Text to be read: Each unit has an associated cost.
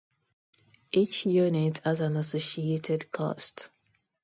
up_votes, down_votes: 2, 0